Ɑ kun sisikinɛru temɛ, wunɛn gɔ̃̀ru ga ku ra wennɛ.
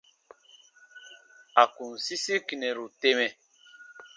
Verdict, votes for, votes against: rejected, 0, 2